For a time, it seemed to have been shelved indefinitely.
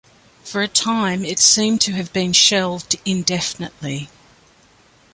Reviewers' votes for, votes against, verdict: 2, 0, accepted